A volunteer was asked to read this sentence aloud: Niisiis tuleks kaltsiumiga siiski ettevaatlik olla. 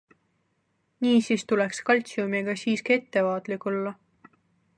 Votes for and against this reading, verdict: 3, 0, accepted